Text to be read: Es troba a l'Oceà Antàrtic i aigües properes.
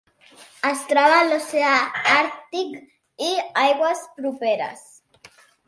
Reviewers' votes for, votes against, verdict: 1, 2, rejected